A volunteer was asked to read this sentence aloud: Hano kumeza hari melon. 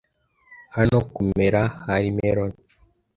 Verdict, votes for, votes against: rejected, 1, 2